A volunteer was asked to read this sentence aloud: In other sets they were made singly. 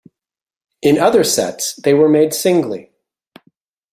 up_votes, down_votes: 2, 0